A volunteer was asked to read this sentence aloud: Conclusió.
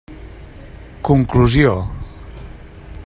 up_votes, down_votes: 3, 0